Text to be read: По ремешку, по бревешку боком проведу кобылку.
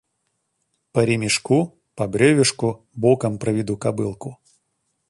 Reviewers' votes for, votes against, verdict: 2, 0, accepted